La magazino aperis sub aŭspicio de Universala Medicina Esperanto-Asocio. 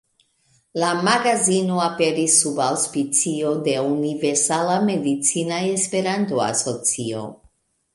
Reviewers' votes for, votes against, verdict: 1, 2, rejected